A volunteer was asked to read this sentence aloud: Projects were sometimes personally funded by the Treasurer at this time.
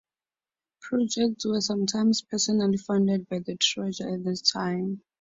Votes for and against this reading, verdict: 4, 0, accepted